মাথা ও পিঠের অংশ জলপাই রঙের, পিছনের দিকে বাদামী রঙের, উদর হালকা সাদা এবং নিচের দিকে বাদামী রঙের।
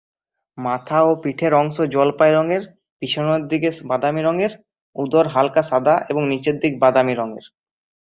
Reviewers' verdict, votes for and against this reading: accepted, 2, 1